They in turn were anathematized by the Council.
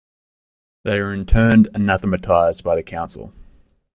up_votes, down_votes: 2, 0